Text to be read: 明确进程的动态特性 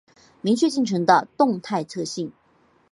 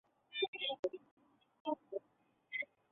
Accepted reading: first